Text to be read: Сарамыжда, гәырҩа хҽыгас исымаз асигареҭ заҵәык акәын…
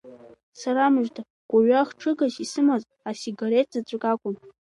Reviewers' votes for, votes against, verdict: 2, 0, accepted